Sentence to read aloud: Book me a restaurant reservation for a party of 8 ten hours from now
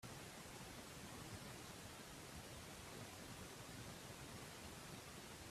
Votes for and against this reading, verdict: 0, 2, rejected